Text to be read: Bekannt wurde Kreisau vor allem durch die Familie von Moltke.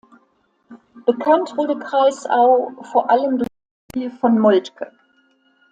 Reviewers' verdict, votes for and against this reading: rejected, 0, 2